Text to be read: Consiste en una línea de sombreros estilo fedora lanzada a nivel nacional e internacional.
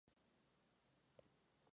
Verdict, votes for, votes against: rejected, 0, 2